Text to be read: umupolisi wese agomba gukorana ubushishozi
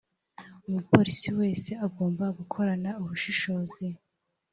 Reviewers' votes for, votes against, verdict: 2, 0, accepted